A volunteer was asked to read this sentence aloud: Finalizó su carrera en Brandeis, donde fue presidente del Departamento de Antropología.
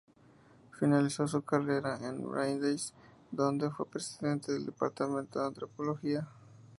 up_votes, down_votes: 2, 0